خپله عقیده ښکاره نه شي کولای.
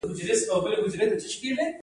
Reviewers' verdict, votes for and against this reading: rejected, 1, 2